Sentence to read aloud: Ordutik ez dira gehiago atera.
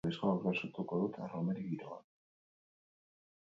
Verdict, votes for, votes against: rejected, 0, 4